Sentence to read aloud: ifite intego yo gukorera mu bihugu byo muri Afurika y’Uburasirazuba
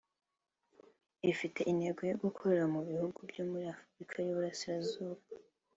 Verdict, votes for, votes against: accepted, 2, 0